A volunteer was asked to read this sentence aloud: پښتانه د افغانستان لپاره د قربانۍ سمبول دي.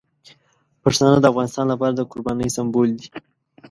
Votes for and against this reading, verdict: 0, 2, rejected